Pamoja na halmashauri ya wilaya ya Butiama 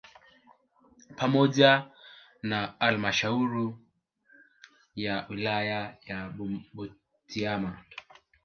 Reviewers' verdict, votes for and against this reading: rejected, 1, 2